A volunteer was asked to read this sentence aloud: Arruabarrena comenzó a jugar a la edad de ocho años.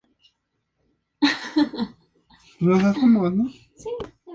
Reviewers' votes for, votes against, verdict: 0, 2, rejected